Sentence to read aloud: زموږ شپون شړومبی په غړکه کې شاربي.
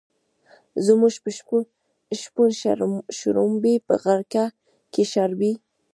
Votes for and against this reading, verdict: 1, 2, rejected